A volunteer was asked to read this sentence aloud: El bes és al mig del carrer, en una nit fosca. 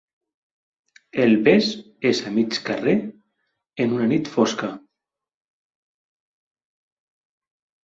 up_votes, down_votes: 2, 0